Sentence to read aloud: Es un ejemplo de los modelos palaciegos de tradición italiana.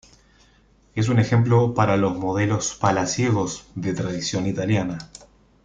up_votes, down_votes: 0, 2